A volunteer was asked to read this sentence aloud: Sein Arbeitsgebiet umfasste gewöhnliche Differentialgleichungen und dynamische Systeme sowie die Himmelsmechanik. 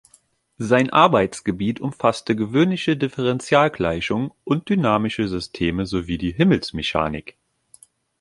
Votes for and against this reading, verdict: 2, 1, accepted